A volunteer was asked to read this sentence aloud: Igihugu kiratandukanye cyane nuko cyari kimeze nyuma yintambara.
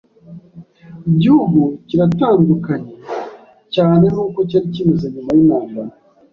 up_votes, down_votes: 2, 0